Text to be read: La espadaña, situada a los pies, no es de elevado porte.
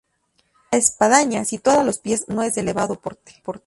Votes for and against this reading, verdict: 2, 0, accepted